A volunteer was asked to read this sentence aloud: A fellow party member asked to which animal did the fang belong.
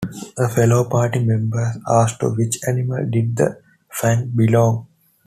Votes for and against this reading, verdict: 2, 0, accepted